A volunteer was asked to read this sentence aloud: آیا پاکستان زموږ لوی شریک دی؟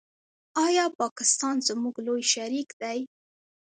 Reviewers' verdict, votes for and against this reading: accepted, 2, 0